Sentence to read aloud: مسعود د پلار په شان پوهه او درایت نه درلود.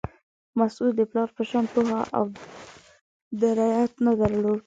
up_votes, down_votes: 2, 1